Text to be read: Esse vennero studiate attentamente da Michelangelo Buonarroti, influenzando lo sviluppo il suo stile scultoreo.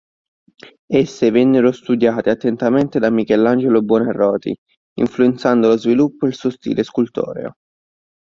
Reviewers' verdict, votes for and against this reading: accepted, 2, 0